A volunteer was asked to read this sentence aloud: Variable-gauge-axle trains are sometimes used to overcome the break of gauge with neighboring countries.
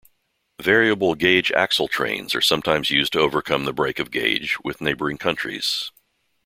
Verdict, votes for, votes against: accepted, 2, 1